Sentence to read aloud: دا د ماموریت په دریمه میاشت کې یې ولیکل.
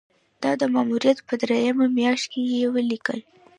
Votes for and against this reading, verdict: 2, 0, accepted